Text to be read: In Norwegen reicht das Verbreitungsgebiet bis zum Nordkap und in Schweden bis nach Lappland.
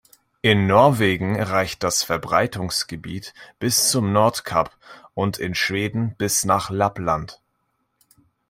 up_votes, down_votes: 2, 0